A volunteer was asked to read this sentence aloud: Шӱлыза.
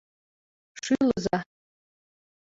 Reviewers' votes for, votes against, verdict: 2, 1, accepted